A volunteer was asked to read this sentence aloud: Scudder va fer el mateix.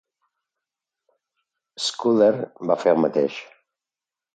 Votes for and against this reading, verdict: 2, 0, accepted